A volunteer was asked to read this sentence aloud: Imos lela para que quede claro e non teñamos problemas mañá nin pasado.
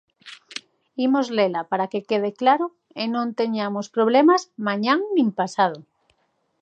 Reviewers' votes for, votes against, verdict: 1, 2, rejected